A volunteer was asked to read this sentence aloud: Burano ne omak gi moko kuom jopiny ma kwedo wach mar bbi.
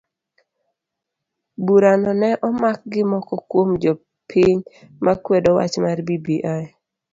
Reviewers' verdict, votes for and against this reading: accepted, 2, 0